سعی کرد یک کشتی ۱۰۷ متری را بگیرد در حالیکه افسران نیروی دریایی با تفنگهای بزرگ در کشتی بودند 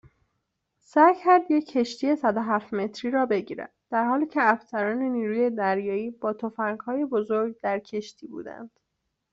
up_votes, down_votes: 0, 2